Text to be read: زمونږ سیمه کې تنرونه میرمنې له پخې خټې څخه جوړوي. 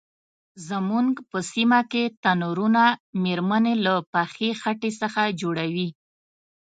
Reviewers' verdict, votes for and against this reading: accepted, 3, 1